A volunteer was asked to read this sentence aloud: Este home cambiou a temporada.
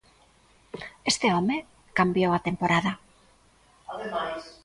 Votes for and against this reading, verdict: 0, 2, rejected